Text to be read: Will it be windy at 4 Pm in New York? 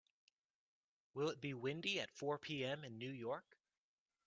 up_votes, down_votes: 0, 2